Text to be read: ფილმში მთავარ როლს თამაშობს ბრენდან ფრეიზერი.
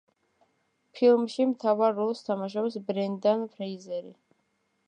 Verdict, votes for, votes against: accepted, 2, 0